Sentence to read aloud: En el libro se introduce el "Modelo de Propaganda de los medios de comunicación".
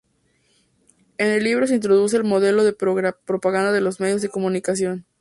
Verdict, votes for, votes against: rejected, 2, 2